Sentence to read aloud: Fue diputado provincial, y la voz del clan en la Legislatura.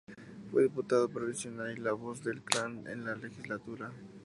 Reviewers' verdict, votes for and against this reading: rejected, 0, 2